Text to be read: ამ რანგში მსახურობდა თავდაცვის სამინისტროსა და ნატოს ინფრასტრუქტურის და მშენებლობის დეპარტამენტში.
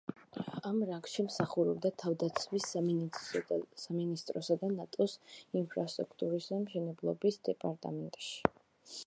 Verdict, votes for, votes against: rejected, 0, 2